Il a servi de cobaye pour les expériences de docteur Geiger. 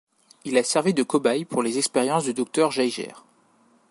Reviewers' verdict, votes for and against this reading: rejected, 1, 2